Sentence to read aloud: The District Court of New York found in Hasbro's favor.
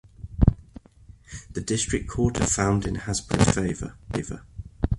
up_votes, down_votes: 0, 2